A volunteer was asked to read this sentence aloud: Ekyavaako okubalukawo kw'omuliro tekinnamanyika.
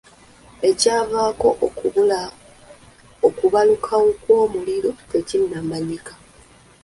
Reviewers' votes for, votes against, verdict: 1, 2, rejected